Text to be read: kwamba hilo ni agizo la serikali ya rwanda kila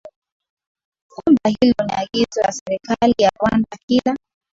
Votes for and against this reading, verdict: 2, 1, accepted